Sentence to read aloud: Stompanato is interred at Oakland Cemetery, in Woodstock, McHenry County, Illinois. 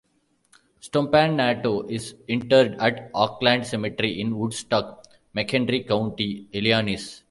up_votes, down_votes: 0, 2